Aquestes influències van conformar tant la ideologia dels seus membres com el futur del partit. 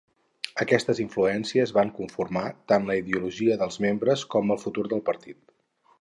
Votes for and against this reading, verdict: 2, 4, rejected